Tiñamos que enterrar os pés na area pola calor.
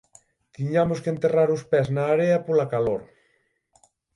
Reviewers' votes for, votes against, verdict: 6, 0, accepted